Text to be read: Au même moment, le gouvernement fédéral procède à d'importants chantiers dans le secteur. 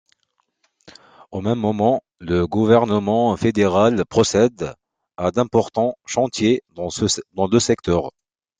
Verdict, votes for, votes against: rejected, 1, 2